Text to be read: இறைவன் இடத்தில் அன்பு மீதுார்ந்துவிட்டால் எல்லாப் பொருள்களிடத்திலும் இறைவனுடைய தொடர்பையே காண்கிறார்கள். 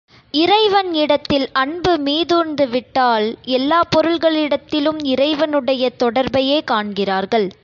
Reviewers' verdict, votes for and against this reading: accepted, 2, 0